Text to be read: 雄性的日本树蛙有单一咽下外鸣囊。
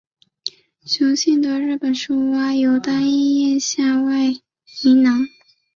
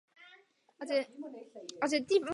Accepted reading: first